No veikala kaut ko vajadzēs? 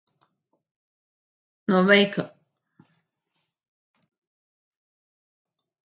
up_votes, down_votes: 0, 2